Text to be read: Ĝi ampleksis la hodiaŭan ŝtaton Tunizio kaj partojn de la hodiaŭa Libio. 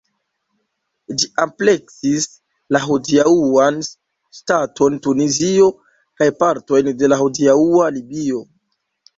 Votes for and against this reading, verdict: 0, 2, rejected